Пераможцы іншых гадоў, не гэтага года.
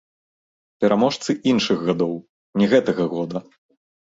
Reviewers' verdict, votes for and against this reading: accepted, 2, 0